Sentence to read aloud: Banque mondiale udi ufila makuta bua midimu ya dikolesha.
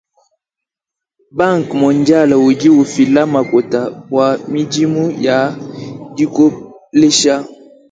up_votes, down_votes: 1, 2